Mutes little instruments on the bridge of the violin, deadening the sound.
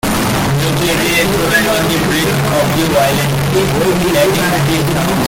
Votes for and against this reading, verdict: 0, 2, rejected